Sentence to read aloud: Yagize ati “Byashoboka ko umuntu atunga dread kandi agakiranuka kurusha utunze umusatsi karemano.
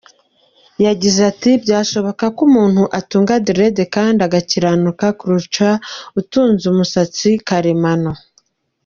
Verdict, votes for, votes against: accepted, 2, 1